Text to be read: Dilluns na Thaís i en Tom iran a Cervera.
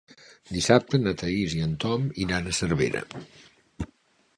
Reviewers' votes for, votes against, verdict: 1, 2, rejected